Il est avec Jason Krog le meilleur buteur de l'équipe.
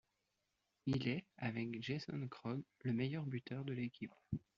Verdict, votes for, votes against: accepted, 2, 0